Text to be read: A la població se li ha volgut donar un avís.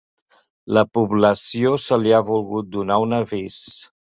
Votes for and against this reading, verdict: 0, 3, rejected